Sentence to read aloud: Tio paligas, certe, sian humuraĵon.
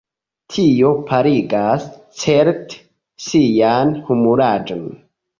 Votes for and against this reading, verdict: 1, 2, rejected